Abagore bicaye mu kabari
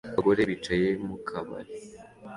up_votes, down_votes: 2, 0